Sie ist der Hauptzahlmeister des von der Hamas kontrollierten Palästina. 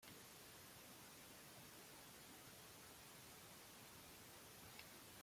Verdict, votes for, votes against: rejected, 0, 2